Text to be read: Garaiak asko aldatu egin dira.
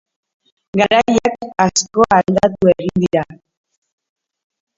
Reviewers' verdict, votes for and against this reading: rejected, 1, 2